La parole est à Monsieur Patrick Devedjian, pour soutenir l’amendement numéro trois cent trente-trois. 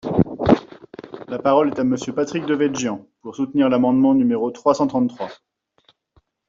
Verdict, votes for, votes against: rejected, 1, 2